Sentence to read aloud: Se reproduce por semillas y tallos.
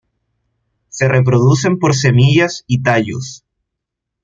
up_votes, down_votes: 1, 2